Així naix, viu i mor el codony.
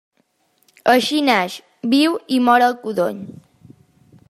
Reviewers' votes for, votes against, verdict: 2, 0, accepted